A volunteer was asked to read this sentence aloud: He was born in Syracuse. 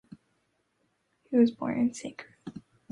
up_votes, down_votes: 0, 2